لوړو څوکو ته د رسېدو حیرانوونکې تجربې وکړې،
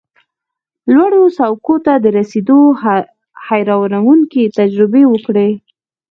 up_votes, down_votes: 2, 4